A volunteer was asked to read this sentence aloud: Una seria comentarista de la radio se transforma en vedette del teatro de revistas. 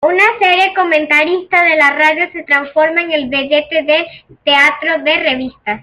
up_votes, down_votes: 2, 1